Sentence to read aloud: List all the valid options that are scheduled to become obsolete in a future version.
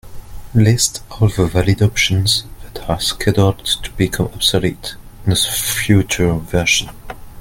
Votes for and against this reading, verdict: 1, 2, rejected